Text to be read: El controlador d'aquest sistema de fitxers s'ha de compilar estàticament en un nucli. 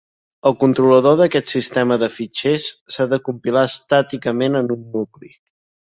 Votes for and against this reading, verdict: 3, 0, accepted